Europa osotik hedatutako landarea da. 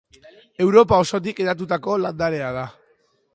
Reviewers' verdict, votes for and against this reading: rejected, 1, 2